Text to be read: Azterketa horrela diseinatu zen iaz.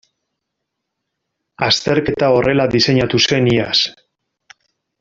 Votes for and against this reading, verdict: 2, 0, accepted